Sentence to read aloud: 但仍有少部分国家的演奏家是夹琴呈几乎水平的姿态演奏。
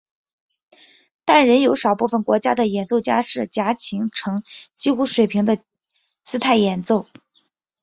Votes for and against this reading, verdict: 2, 0, accepted